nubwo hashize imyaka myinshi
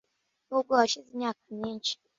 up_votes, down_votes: 2, 0